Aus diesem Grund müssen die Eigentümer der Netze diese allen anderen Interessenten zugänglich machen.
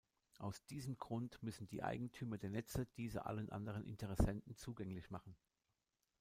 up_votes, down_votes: 0, 2